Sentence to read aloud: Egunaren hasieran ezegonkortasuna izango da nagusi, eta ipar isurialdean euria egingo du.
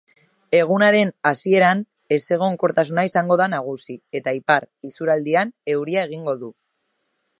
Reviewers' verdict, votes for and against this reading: rejected, 0, 2